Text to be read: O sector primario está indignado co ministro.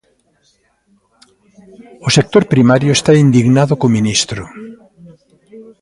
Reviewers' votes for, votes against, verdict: 0, 2, rejected